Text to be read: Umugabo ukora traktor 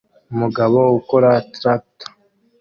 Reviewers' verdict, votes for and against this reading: accepted, 2, 0